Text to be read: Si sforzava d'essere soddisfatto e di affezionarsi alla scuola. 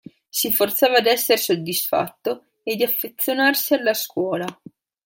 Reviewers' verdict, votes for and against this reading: rejected, 0, 2